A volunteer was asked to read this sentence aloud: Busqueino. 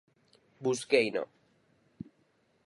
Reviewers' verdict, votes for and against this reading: rejected, 0, 4